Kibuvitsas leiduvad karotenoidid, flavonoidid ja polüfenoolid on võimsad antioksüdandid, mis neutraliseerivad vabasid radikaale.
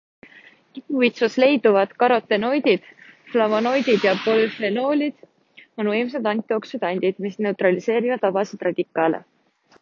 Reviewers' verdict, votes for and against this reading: accepted, 2, 1